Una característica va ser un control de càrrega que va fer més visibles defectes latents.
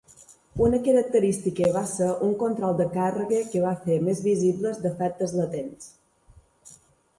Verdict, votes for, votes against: accepted, 2, 0